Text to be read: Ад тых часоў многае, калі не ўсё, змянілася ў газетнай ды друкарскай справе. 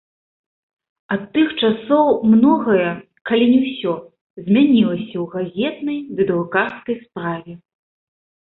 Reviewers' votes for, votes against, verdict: 2, 0, accepted